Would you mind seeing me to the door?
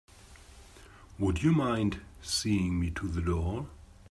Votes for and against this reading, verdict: 3, 0, accepted